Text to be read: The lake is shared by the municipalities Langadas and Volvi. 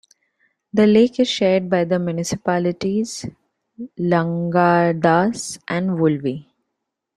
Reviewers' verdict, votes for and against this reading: accepted, 2, 0